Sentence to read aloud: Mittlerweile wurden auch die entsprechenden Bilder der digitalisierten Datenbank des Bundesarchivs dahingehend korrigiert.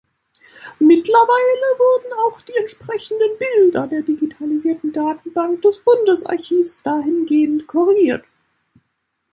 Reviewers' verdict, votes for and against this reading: rejected, 1, 2